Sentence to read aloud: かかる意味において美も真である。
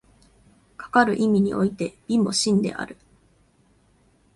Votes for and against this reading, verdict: 5, 0, accepted